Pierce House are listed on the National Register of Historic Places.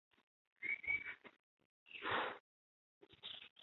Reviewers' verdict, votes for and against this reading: rejected, 0, 2